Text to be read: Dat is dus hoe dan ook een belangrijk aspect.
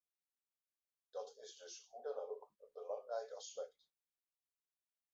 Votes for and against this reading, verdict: 2, 3, rejected